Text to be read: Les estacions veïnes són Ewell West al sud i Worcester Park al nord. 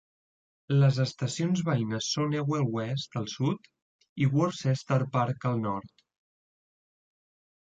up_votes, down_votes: 2, 0